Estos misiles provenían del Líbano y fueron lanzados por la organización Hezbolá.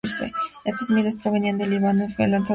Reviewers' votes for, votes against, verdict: 0, 2, rejected